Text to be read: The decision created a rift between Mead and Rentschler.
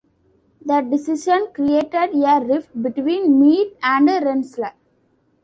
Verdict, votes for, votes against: accepted, 2, 0